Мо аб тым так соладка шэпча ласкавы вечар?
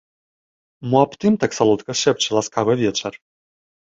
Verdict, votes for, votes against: accepted, 2, 0